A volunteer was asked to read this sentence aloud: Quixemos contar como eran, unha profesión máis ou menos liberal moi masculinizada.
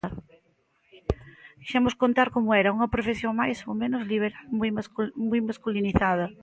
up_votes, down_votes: 0, 2